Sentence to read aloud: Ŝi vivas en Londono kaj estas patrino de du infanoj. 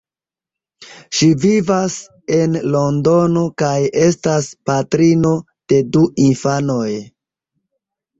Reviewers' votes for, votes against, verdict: 2, 0, accepted